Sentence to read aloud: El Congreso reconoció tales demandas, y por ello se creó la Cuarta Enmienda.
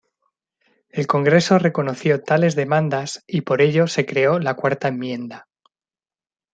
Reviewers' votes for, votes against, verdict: 2, 0, accepted